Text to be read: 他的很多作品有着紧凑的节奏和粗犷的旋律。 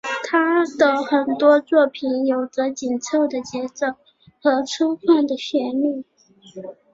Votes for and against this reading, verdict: 4, 0, accepted